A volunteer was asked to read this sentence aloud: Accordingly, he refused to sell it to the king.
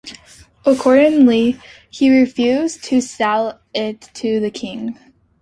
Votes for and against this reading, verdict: 2, 0, accepted